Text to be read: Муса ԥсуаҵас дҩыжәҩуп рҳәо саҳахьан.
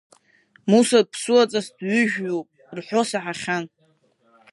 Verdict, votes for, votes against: accepted, 5, 3